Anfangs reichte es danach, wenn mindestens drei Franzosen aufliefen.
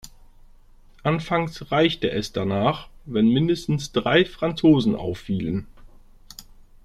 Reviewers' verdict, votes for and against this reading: rejected, 0, 2